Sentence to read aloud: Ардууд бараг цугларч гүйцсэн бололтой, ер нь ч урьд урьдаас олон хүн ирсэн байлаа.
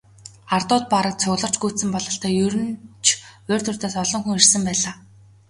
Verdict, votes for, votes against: accepted, 3, 0